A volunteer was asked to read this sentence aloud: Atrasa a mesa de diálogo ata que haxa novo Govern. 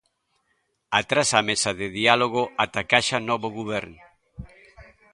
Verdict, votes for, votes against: rejected, 0, 2